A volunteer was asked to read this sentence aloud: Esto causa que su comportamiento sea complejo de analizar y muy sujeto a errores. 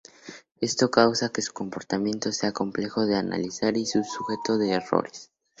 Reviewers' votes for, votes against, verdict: 4, 2, accepted